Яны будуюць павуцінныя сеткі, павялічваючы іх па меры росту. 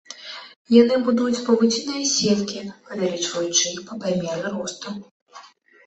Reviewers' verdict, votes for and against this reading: accepted, 2, 1